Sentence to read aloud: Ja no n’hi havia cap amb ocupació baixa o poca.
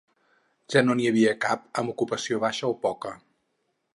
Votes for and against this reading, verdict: 8, 0, accepted